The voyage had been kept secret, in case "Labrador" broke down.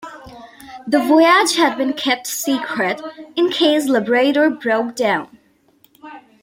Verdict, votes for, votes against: accepted, 2, 0